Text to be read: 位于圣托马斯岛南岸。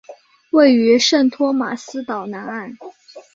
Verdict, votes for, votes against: accepted, 5, 0